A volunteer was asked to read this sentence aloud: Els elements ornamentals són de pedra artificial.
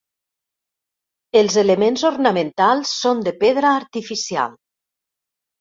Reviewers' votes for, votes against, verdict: 3, 0, accepted